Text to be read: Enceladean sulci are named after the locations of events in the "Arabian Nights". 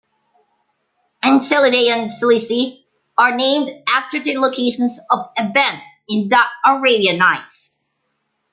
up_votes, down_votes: 0, 3